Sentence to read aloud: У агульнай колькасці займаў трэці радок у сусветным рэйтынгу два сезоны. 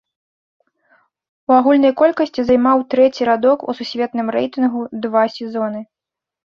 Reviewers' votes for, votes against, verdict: 2, 0, accepted